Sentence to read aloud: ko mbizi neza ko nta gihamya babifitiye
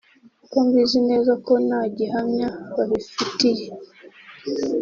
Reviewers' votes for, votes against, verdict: 3, 0, accepted